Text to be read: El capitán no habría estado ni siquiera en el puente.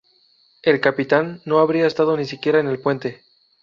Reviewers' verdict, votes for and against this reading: rejected, 0, 2